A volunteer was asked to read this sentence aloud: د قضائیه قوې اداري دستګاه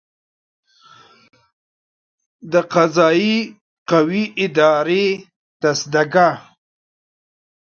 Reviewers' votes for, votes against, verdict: 0, 2, rejected